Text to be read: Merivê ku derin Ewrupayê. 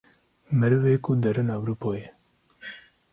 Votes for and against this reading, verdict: 0, 2, rejected